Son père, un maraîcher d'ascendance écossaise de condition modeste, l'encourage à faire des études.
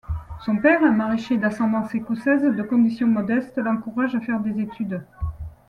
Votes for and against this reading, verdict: 2, 0, accepted